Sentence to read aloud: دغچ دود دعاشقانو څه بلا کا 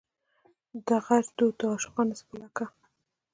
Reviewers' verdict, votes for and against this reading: rejected, 1, 2